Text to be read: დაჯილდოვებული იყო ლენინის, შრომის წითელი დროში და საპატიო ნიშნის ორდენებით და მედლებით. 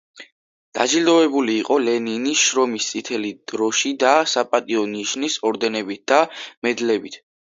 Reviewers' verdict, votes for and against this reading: accepted, 2, 1